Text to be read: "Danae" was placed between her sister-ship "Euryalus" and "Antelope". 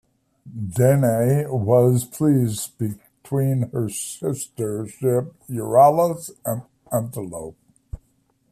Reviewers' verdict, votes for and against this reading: rejected, 1, 2